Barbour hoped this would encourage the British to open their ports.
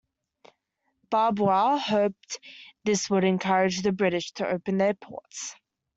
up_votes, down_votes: 1, 2